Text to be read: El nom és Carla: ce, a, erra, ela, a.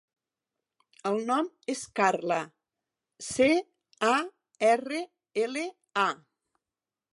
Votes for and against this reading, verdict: 2, 4, rejected